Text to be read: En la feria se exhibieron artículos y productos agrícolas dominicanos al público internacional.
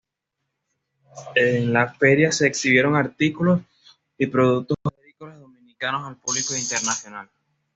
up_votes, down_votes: 2, 0